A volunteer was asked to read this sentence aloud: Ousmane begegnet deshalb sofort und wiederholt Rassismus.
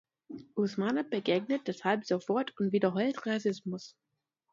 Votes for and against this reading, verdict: 1, 2, rejected